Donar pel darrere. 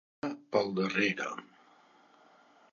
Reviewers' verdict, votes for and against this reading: rejected, 0, 2